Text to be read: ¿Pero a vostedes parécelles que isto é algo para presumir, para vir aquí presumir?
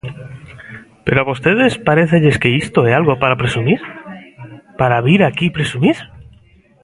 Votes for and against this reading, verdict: 2, 0, accepted